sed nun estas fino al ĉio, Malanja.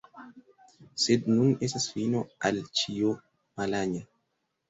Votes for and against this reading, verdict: 3, 0, accepted